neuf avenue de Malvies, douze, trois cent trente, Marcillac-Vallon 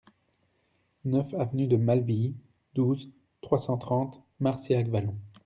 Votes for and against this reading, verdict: 2, 0, accepted